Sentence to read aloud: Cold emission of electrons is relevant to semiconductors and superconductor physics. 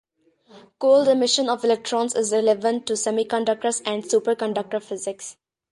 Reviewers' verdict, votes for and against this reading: accepted, 2, 0